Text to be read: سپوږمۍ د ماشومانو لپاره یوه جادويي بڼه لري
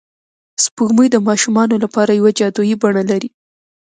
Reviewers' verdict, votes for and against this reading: rejected, 1, 2